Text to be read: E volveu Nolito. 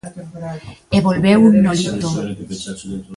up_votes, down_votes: 2, 0